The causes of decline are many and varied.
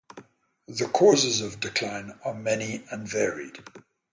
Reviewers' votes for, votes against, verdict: 3, 3, rejected